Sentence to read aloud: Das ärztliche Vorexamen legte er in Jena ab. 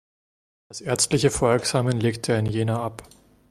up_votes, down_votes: 2, 0